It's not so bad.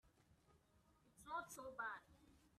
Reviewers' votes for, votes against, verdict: 1, 2, rejected